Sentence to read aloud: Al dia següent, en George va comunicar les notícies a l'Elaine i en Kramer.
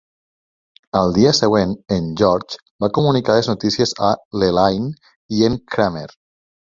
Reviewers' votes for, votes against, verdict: 2, 0, accepted